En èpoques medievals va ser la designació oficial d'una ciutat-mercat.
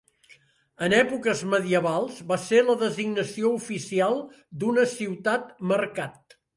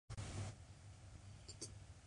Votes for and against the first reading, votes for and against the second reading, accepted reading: 2, 0, 1, 2, first